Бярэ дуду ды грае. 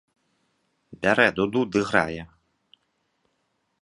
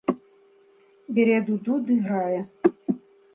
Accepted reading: first